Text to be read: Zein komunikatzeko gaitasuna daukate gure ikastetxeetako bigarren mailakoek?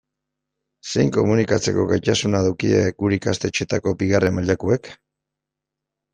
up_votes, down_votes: 0, 2